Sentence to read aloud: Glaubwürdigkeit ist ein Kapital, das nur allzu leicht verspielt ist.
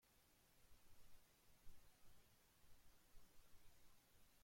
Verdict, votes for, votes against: rejected, 0, 2